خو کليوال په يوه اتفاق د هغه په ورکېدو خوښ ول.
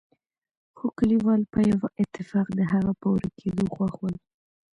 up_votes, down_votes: 1, 2